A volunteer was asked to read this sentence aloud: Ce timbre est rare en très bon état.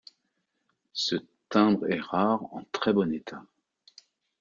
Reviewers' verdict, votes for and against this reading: accepted, 2, 0